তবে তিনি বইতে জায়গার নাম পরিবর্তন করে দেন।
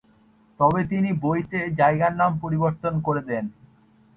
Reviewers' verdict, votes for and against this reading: accepted, 2, 0